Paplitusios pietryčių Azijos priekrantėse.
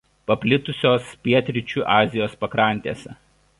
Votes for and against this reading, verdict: 1, 2, rejected